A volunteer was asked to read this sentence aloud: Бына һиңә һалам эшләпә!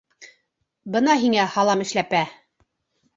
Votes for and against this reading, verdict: 2, 0, accepted